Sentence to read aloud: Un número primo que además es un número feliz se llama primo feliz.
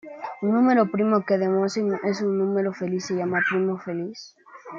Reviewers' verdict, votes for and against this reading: rejected, 1, 2